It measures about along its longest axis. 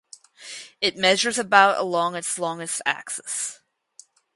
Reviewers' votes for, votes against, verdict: 2, 0, accepted